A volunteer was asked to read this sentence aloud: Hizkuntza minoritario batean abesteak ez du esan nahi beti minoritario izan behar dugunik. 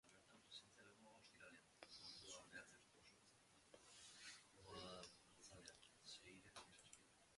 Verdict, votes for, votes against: rejected, 2, 10